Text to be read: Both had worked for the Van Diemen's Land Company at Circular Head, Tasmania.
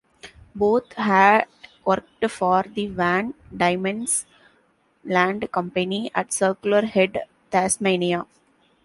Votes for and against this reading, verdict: 2, 0, accepted